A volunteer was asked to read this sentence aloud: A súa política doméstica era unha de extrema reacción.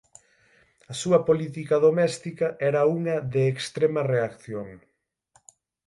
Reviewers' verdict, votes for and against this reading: accepted, 6, 3